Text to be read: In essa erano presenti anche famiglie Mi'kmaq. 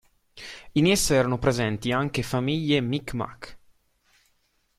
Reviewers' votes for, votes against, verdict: 3, 0, accepted